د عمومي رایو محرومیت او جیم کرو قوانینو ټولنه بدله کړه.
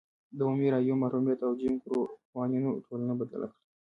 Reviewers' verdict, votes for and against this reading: rejected, 1, 2